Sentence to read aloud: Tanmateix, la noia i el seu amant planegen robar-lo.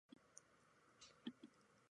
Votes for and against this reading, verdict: 0, 2, rejected